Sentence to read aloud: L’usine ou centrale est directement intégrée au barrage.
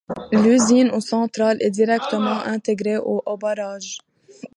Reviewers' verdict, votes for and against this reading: rejected, 1, 2